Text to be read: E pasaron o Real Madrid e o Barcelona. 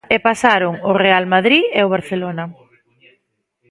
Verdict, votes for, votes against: accepted, 2, 0